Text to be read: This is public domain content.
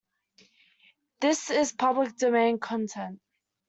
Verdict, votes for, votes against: accepted, 2, 0